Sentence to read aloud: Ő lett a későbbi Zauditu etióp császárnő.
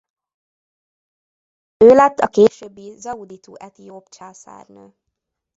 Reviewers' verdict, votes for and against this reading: rejected, 0, 2